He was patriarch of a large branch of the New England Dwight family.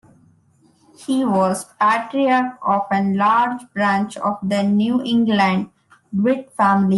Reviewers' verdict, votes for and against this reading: accepted, 2, 1